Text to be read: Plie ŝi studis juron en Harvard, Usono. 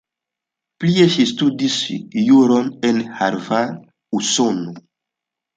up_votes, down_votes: 2, 0